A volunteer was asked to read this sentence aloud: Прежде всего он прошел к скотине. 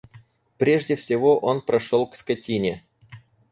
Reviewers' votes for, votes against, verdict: 4, 0, accepted